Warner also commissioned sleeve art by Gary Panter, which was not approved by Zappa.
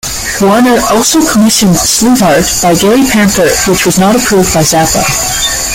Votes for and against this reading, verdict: 1, 2, rejected